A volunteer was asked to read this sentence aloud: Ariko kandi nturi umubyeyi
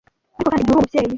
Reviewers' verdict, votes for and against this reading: rejected, 0, 2